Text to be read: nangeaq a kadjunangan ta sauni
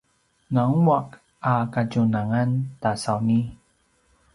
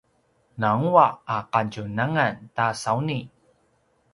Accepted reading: second